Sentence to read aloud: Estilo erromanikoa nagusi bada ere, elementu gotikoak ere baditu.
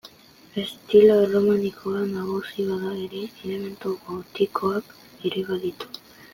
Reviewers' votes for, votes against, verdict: 2, 0, accepted